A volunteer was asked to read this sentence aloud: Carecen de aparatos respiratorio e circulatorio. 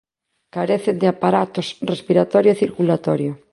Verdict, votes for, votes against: accepted, 2, 0